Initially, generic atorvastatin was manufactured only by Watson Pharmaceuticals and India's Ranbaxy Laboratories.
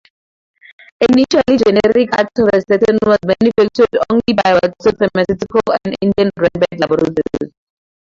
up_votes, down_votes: 0, 2